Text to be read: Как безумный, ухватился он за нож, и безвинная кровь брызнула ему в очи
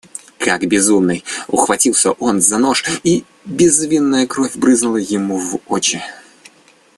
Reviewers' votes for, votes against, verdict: 2, 0, accepted